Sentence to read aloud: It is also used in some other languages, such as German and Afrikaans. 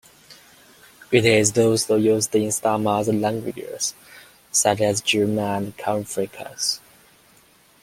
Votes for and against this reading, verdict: 0, 2, rejected